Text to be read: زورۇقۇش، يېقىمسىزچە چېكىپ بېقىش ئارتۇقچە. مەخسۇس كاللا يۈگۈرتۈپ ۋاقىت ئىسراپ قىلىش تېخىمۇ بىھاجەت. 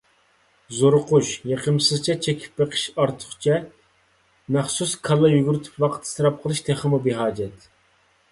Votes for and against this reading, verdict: 2, 0, accepted